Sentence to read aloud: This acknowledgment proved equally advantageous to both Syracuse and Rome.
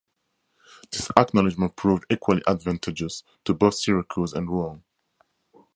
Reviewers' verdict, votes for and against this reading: accepted, 2, 0